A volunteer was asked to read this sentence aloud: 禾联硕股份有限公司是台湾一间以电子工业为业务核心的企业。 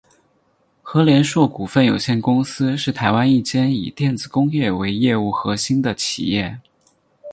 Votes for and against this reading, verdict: 4, 2, accepted